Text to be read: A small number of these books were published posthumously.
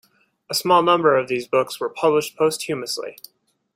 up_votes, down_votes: 2, 0